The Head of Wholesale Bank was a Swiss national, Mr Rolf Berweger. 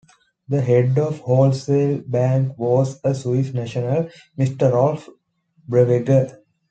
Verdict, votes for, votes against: accepted, 2, 1